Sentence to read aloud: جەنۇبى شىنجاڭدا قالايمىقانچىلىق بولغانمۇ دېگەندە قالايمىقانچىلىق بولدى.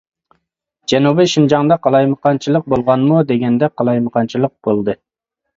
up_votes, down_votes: 2, 0